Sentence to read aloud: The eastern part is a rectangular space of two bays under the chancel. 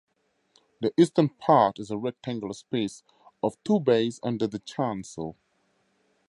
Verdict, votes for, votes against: rejected, 2, 2